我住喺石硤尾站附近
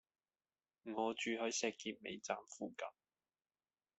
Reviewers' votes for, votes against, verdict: 2, 0, accepted